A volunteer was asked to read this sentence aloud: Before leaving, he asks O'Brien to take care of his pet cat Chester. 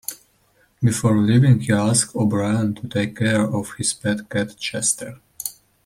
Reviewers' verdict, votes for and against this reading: accepted, 2, 0